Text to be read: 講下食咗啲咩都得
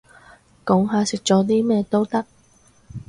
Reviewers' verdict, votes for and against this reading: accepted, 2, 0